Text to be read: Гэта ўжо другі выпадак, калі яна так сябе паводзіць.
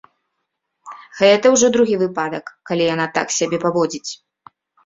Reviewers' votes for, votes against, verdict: 2, 0, accepted